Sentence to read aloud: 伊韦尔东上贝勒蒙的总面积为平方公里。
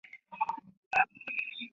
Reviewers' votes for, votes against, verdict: 1, 6, rejected